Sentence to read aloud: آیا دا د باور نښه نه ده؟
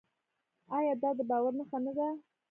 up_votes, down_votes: 1, 2